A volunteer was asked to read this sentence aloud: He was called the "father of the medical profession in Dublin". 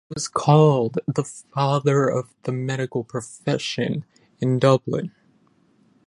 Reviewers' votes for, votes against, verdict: 0, 10, rejected